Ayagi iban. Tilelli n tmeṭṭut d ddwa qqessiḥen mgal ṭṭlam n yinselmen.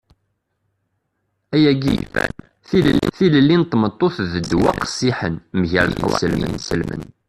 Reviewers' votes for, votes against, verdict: 0, 2, rejected